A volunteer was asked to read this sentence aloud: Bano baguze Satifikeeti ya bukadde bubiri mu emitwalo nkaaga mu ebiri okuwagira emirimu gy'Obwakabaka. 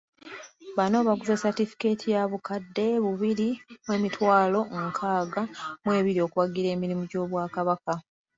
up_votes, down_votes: 2, 0